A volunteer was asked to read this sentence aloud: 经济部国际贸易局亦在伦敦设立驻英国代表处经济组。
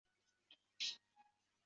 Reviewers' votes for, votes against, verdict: 1, 2, rejected